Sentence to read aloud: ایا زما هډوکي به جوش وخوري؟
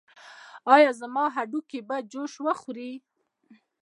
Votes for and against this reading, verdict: 1, 2, rejected